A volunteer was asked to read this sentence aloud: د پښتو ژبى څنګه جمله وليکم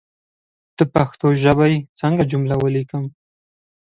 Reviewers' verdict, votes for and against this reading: accepted, 2, 0